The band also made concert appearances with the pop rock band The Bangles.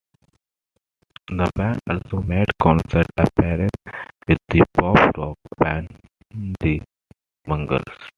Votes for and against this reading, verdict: 0, 2, rejected